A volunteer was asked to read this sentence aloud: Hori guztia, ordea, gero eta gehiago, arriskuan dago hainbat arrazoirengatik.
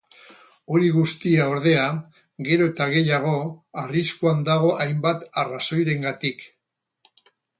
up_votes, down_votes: 2, 2